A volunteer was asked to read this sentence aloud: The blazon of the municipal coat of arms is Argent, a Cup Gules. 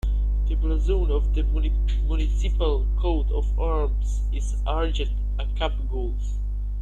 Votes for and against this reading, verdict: 1, 2, rejected